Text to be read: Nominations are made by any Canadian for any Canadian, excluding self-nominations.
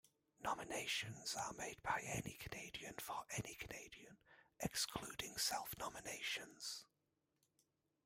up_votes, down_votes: 1, 2